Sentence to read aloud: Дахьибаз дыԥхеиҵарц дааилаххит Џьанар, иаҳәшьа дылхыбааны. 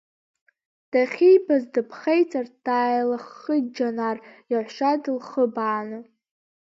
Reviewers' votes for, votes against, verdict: 0, 2, rejected